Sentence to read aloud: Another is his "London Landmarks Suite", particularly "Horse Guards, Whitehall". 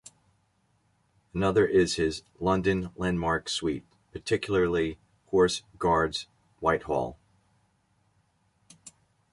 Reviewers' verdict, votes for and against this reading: accepted, 2, 0